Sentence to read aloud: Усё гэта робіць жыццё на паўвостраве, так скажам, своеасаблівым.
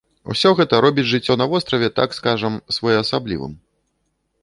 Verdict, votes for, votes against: rejected, 0, 2